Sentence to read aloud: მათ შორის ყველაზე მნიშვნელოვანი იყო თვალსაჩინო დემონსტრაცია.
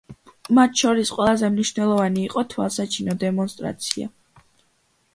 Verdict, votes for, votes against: accepted, 2, 0